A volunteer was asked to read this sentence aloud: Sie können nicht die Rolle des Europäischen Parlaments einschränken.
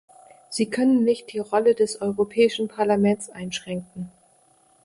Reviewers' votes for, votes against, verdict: 2, 0, accepted